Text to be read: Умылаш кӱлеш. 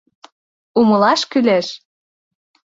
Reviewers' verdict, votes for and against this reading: accepted, 2, 0